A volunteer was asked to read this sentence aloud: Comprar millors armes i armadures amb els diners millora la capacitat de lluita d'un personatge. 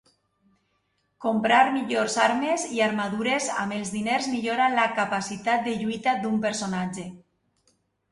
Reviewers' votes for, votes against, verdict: 2, 0, accepted